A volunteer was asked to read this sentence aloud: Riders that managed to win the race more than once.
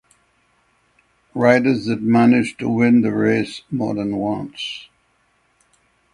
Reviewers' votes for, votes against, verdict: 6, 0, accepted